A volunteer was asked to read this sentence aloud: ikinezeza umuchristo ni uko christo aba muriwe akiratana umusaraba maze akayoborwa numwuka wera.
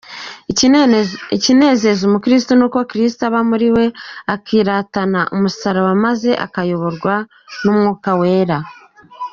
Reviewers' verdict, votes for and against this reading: rejected, 0, 2